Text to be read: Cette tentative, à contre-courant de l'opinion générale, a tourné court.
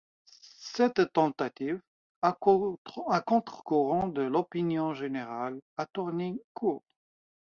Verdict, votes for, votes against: rejected, 0, 2